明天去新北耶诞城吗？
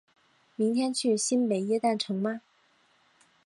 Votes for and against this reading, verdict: 3, 0, accepted